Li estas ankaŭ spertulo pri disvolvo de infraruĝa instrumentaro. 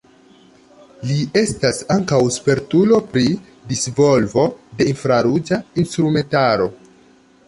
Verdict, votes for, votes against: accepted, 2, 0